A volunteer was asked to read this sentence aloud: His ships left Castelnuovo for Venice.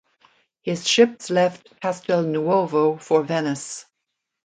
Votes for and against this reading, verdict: 2, 0, accepted